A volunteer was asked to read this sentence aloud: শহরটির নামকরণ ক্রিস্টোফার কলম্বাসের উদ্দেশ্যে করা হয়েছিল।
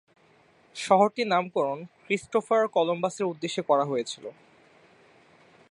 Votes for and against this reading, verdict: 3, 0, accepted